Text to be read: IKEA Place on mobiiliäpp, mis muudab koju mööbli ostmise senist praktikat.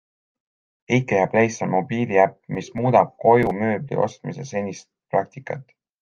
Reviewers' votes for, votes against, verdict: 2, 0, accepted